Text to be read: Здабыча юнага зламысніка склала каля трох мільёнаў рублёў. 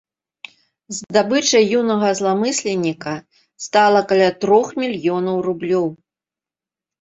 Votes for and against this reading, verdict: 0, 2, rejected